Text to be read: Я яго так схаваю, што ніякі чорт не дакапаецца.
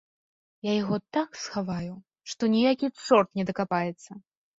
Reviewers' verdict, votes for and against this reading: accepted, 2, 1